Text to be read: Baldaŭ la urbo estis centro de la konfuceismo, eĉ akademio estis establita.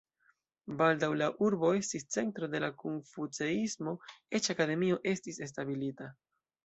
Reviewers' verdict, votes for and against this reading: rejected, 1, 2